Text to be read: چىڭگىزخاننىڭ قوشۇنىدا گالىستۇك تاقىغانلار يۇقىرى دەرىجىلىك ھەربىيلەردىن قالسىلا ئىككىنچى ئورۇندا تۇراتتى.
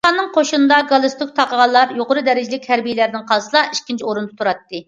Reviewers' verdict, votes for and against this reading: rejected, 0, 2